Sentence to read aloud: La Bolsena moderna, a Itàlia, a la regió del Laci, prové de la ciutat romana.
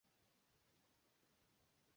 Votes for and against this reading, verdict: 0, 2, rejected